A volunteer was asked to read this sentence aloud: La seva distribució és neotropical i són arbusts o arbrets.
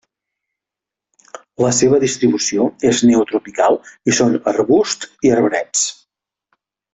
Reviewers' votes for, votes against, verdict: 1, 2, rejected